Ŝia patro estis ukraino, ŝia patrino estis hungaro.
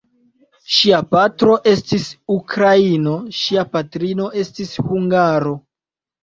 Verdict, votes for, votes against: rejected, 1, 2